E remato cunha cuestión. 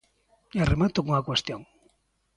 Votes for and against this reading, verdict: 2, 0, accepted